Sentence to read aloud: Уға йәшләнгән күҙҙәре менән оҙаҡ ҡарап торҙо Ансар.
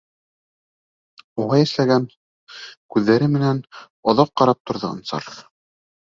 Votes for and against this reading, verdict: 1, 2, rejected